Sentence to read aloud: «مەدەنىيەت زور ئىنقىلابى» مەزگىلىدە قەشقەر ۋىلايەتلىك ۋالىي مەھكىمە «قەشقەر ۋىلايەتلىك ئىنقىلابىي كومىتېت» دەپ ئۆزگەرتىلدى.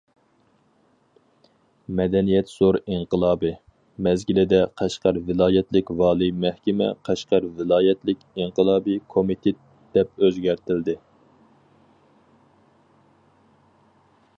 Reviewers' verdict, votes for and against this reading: accepted, 4, 0